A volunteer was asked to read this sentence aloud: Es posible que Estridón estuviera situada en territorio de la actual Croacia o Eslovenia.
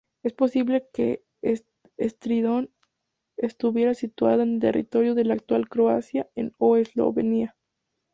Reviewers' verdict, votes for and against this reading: rejected, 0, 2